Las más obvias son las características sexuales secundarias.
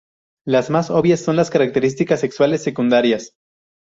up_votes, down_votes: 8, 0